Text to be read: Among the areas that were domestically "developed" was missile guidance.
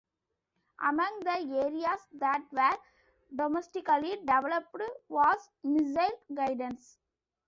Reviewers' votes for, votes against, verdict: 1, 2, rejected